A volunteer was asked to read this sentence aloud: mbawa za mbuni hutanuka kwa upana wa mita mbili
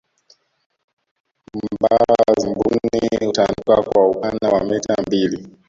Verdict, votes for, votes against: rejected, 0, 2